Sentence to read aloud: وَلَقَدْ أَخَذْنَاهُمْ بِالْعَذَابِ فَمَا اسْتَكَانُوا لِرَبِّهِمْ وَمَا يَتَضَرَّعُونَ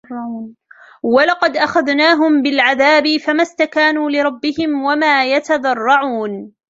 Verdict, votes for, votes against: accepted, 2, 1